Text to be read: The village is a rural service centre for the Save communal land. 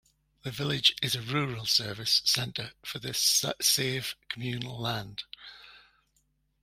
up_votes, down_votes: 2, 1